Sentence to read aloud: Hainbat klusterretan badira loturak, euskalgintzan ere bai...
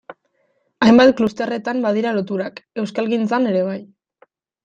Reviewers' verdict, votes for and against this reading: accepted, 2, 0